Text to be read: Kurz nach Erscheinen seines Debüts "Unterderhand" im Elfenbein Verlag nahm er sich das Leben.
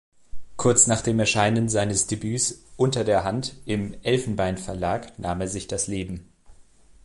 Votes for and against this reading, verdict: 1, 2, rejected